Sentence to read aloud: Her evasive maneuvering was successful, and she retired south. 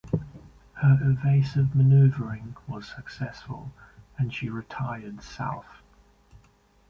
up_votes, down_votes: 2, 0